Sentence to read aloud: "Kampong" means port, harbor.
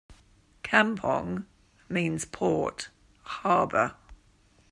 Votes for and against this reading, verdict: 2, 0, accepted